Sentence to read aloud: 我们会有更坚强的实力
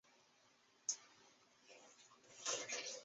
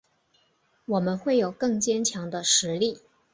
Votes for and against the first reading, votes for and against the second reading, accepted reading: 0, 2, 3, 1, second